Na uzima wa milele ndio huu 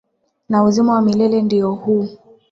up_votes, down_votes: 3, 0